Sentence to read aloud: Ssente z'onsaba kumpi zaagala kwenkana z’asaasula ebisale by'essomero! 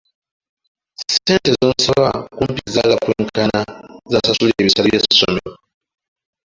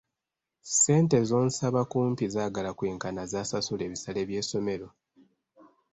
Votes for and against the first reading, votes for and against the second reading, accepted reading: 0, 2, 2, 0, second